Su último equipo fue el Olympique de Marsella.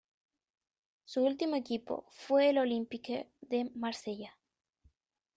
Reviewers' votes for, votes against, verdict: 0, 2, rejected